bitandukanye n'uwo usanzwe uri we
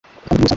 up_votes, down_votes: 0, 2